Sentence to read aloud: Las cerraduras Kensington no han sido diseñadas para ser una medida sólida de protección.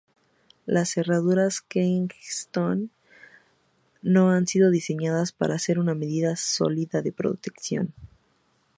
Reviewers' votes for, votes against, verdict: 0, 4, rejected